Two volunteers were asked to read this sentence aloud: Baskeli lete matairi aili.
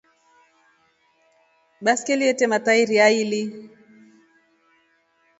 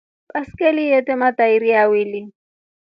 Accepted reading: first